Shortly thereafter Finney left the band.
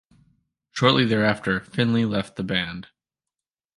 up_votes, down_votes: 0, 2